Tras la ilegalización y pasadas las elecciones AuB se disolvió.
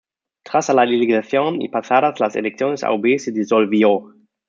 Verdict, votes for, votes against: rejected, 0, 2